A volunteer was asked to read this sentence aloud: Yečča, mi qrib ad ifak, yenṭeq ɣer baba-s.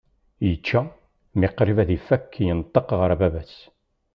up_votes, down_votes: 2, 0